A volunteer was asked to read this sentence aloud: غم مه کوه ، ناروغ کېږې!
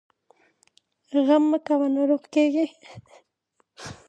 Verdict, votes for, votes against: rejected, 0, 2